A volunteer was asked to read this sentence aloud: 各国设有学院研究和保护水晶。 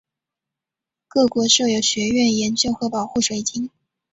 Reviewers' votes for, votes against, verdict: 3, 0, accepted